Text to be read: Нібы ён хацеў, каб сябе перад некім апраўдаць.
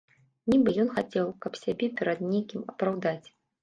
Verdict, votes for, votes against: accepted, 2, 0